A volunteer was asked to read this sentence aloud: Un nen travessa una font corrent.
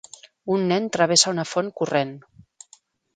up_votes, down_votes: 3, 0